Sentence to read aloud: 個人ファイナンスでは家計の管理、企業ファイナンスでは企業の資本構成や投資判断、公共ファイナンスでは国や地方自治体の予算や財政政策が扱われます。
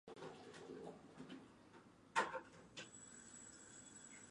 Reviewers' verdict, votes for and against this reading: rejected, 1, 2